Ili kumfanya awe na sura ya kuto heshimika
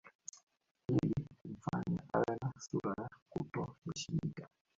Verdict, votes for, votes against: rejected, 0, 3